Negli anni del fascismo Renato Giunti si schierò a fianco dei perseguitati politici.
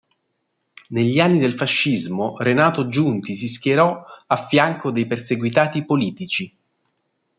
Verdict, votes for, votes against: accepted, 2, 0